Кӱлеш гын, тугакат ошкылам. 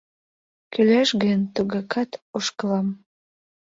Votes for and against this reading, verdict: 2, 0, accepted